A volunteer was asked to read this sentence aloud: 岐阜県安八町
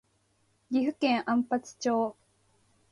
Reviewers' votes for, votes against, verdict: 2, 0, accepted